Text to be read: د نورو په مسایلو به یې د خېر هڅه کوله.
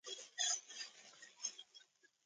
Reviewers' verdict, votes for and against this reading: rejected, 1, 2